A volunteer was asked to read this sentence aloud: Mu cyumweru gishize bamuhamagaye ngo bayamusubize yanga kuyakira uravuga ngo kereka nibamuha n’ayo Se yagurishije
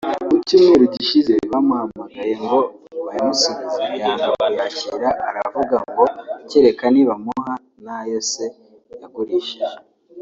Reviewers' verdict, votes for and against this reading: rejected, 0, 2